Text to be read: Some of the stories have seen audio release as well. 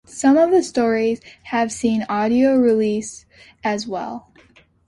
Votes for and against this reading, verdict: 2, 0, accepted